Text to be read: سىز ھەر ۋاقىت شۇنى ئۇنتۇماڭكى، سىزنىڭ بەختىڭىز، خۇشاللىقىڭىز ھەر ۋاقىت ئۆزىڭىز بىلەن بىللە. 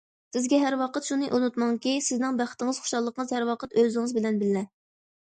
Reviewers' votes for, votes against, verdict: 1, 2, rejected